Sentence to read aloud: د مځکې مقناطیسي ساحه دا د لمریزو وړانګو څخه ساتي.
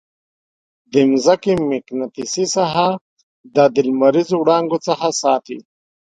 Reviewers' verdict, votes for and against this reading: rejected, 3, 4